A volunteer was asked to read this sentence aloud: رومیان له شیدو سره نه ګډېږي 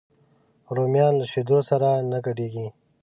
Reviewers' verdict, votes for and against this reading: accepted, 2, 0